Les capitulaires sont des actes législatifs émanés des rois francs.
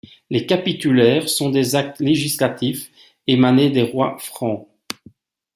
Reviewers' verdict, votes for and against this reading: accepted, 2, 0